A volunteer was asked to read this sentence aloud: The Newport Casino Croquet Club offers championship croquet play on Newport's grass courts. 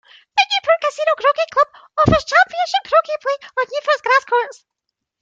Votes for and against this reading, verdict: 0, 2, rejected